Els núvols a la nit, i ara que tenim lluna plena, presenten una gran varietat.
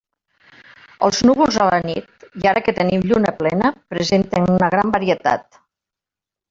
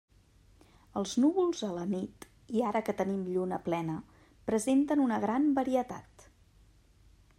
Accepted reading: second